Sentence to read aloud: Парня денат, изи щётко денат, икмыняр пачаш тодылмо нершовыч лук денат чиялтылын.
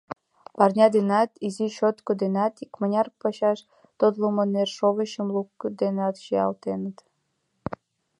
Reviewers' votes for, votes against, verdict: 1, 2, rejected